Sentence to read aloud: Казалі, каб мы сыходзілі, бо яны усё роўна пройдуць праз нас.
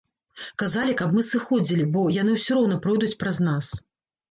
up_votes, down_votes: 2, 0